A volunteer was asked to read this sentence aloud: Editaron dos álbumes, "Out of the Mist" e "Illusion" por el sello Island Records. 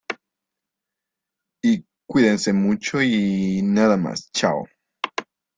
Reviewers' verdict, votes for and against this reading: rejected, 0, 2